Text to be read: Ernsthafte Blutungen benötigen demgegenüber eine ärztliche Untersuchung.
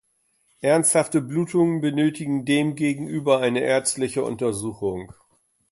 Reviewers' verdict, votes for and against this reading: accepted, 3, 0